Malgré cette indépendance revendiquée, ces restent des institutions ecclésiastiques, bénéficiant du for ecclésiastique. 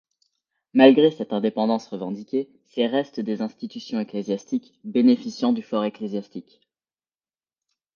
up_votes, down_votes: 2, 0